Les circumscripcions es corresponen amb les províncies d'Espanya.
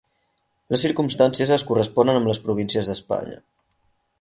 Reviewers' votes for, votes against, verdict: 2, 4, rejected